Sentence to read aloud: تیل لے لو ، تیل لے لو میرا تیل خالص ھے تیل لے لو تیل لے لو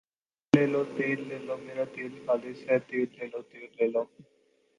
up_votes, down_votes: 6, 2